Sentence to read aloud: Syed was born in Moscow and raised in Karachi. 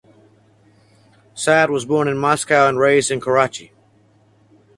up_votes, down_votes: 4, 0